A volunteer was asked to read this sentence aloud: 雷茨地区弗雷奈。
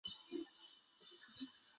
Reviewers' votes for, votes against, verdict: 2, 1, accepted